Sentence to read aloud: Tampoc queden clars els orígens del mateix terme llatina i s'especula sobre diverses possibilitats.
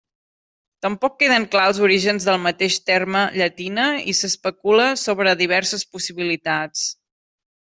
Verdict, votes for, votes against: accepted, 2, 0